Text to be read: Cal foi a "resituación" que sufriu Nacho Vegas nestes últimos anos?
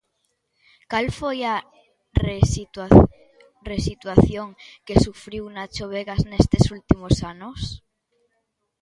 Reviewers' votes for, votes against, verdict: 0, 2, rejected